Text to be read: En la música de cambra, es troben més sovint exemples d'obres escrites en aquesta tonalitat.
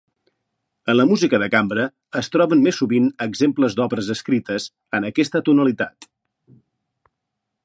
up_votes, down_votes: 3, 0